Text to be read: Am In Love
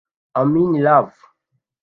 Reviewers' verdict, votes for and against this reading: rejected, 0, 2